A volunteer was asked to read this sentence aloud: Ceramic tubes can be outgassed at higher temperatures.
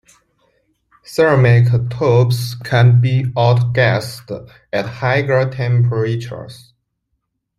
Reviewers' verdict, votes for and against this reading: rejected, 1, 2